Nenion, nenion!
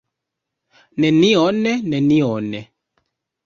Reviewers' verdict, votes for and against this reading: rejected, 1, 2